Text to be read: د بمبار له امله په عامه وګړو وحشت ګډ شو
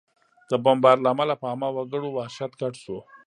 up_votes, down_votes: 2, 0